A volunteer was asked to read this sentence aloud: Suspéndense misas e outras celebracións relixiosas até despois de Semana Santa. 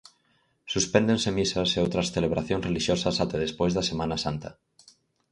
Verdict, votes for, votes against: rejected, 0, 4